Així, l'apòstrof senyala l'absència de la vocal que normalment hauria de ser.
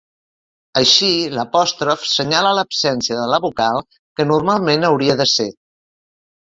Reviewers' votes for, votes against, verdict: 2, 0, accepted